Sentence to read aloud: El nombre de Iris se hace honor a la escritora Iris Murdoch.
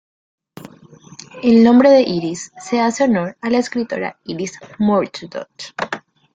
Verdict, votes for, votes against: rejected, 1, 2